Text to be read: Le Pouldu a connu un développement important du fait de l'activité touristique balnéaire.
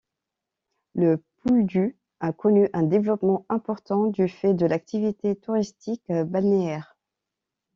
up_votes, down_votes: 2, 0